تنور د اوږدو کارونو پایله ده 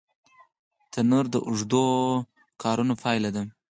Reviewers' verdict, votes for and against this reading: accepted, 4, 0